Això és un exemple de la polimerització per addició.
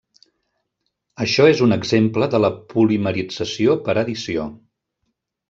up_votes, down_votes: 2, 0